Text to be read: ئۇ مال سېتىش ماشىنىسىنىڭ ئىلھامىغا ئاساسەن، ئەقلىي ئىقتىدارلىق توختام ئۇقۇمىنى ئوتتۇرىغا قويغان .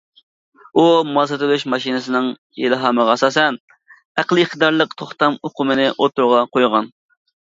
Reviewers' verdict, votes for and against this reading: rejected, 0, 2